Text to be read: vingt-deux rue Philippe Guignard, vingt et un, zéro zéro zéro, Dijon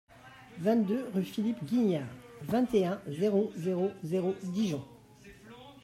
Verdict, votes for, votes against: accepted, 2, 1